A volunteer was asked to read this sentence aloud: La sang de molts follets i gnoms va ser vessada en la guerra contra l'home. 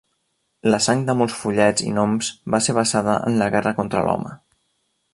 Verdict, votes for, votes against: rejected, 0, 2